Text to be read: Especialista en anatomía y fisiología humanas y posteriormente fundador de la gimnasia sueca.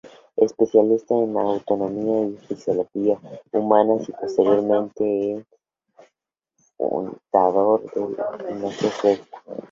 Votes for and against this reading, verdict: 0, 2, rejected